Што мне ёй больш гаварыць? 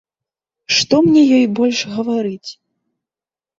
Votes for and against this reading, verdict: 2, 0, accepted